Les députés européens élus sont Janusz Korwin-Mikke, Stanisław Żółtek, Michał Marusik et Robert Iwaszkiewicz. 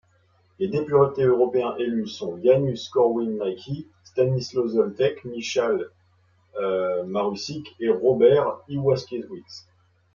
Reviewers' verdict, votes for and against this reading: rejected, 1, 2